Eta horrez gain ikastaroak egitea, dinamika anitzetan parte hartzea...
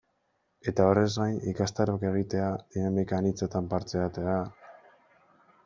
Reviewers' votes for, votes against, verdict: 0, 2, rejected